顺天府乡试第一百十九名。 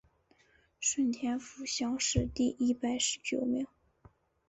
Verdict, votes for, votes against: accepted, 2, 0